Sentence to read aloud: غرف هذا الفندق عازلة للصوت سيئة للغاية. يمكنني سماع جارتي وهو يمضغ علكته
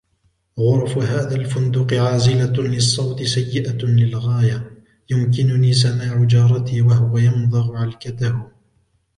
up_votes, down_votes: 1, 2